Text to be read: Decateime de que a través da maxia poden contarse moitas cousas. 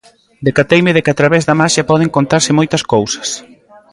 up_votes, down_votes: 2, 0